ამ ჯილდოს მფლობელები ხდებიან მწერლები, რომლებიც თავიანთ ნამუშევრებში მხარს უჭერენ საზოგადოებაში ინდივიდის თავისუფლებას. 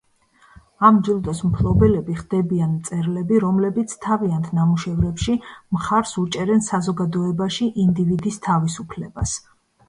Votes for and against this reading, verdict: 2, 0, accepted